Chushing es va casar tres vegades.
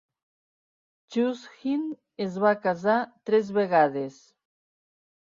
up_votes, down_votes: 2, 1